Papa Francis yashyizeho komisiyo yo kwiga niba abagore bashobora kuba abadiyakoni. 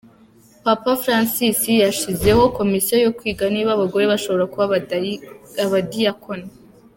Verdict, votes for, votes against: rejected, 1, 2